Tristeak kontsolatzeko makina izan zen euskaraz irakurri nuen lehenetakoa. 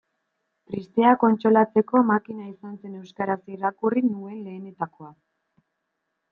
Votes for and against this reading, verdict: 2, 0, accepted